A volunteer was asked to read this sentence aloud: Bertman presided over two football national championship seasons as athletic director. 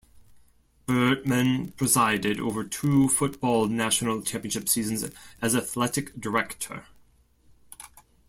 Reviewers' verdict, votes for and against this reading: accepted, 2, 1